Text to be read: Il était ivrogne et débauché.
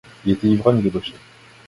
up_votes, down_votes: 1, 2